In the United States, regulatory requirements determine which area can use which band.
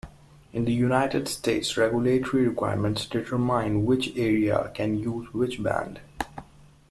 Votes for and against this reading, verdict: 2, 0, accepted